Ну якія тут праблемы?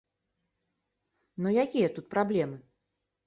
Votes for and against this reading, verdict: 2, 0, accepted